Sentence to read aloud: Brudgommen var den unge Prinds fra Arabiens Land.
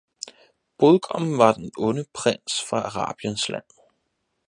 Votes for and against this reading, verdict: 0, 4, rejected